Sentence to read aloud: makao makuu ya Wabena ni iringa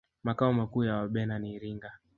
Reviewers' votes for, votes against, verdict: 0, 2, rejected